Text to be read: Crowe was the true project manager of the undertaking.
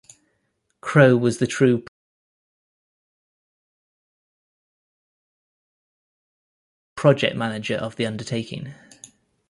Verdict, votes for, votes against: rejected, 1, 3